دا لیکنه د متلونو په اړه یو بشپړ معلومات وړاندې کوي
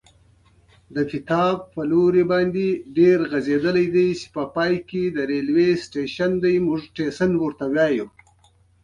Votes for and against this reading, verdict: 2, 1, accepted